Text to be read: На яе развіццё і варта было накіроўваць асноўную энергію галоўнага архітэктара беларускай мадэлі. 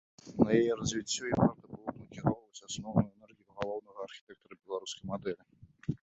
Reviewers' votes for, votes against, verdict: 1, 2, rejected